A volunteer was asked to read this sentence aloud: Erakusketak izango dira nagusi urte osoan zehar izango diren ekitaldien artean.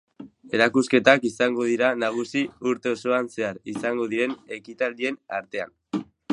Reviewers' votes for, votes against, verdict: 1, 2, rejected